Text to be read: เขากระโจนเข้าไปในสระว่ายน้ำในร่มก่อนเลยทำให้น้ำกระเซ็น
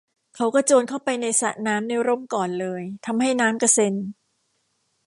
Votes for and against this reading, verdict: 1, 2, rejected